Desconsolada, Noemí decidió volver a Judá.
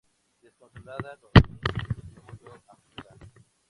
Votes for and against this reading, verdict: 0, 2, rejected